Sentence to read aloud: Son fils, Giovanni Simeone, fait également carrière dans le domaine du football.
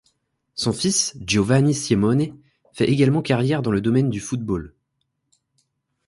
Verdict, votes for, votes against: accepted, 2, 1